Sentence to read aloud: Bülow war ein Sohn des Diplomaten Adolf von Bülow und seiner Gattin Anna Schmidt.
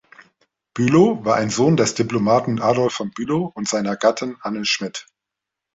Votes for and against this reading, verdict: 1, 2, rejected